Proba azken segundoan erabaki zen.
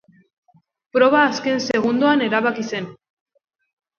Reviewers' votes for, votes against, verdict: 2, 0, accepted